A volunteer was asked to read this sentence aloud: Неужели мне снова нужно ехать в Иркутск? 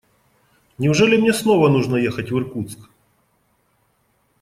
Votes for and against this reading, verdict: 2, 0, accepted